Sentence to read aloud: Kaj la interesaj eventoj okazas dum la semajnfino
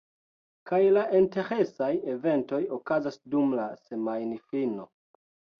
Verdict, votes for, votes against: rejected, 0, 2